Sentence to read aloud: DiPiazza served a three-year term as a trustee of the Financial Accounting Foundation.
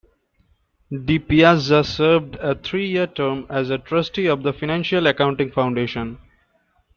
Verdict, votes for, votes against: accepted, 2, 0